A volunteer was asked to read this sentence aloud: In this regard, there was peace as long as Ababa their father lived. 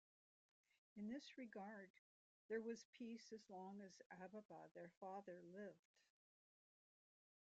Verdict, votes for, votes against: rejected, 1, 2